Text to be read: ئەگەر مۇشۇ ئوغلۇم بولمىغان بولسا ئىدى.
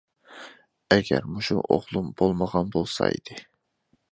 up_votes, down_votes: 2, 0